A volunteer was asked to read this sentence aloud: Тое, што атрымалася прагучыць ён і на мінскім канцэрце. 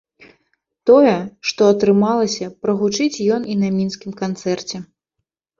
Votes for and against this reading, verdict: 2, 0, accepted